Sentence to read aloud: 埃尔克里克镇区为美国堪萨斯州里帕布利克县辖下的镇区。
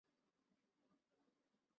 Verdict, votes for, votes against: accepted, 2, 0